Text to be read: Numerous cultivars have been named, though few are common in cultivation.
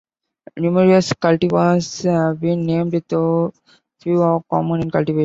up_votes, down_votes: 0, 2